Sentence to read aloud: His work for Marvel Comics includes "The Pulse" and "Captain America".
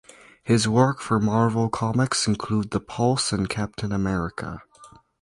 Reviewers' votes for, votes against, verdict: 0, 2, rejected